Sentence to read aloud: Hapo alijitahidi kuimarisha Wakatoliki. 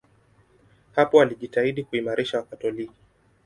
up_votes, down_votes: 2, 0